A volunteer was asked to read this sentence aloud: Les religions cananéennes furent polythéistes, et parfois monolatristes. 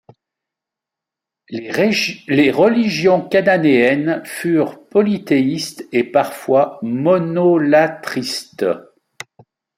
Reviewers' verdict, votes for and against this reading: rejected, 0, 2